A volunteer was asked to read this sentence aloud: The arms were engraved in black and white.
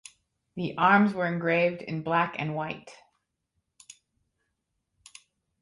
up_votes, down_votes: 4, 0